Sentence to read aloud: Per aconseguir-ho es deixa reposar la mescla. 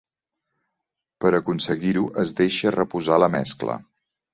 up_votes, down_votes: 2, 0